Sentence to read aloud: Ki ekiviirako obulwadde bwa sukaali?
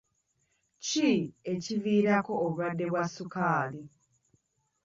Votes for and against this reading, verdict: 2, 0, accepted